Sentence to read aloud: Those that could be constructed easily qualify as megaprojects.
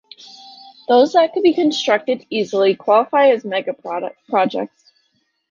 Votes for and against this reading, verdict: 1, 2, rejected